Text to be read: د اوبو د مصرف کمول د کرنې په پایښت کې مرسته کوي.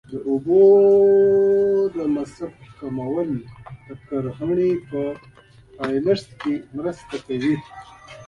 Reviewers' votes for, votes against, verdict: 1, 2, rejected